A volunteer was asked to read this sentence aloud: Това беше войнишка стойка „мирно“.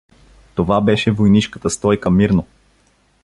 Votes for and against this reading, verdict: 1, 2, rejected